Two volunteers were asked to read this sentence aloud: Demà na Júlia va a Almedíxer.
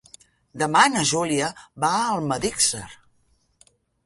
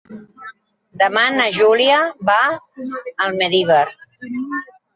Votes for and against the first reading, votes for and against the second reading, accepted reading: 2, 1, 0, 3, first